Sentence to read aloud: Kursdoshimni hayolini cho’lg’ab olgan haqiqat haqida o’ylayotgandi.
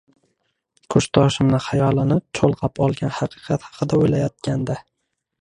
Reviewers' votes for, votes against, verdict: 2, 1, accepted